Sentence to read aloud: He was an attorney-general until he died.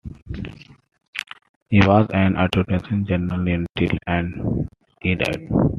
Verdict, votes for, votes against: rejected, 0, 2